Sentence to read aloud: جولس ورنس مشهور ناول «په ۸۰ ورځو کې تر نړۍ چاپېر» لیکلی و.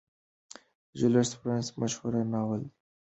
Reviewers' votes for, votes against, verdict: 0, 2, rejected